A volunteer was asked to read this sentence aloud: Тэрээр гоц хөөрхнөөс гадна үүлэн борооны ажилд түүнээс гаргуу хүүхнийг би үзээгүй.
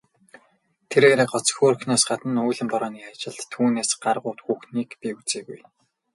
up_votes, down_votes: 0, 2